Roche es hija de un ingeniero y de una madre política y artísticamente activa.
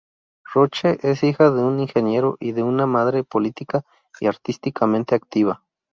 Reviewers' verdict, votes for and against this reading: rejected, 0, 2